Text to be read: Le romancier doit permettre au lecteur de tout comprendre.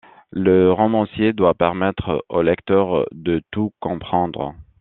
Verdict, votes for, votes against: accepted, 2, 0